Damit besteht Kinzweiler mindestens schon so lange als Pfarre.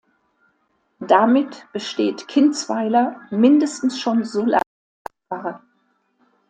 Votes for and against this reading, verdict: 0, 2, rejected